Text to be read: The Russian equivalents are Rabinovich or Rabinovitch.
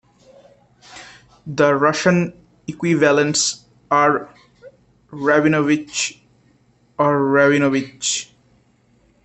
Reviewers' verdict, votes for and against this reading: rejected, 1, 2